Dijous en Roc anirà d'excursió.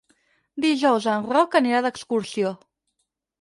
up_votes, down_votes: 0, 4